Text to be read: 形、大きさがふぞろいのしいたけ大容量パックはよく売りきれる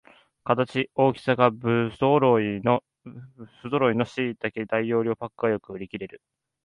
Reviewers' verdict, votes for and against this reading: rejected, 0, 2